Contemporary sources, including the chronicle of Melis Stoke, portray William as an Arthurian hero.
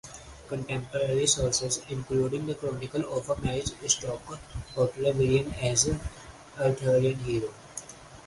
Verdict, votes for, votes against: accepted, 4, 2